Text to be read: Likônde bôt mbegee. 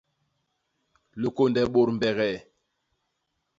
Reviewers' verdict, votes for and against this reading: accepted, 2, 0